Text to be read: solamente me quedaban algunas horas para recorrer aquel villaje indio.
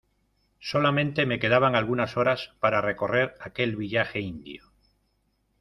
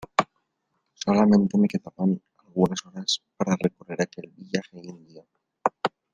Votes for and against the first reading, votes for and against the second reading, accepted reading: 2, 1, 1, 2, first